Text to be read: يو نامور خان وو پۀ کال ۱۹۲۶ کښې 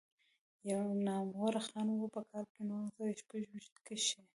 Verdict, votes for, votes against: rejected, 0, 2